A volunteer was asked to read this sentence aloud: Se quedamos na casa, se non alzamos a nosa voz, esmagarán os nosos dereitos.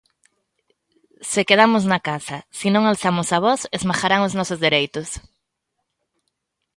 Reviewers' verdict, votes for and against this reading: accepted, 2, 1